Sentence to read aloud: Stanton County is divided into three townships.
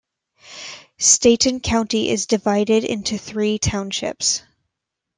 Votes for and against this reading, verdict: 2, 0, accepted